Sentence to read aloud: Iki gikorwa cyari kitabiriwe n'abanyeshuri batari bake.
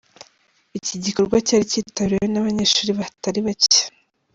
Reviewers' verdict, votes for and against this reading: accepted, 2, 0